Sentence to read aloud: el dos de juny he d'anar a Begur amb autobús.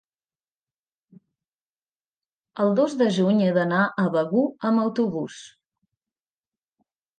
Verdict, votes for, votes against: accepted, 2, 0